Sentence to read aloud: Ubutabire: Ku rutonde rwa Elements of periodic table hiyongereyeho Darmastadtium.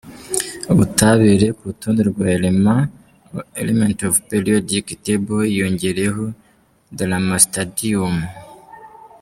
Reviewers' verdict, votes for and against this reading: rejected, 0, 2